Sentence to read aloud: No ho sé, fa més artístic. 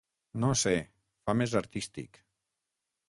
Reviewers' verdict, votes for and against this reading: rejected, 0, 6